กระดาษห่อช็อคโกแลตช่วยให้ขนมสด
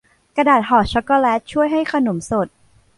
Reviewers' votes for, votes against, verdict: 2, 0, accepted